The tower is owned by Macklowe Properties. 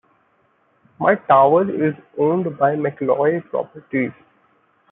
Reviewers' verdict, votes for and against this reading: rejected, 1, 2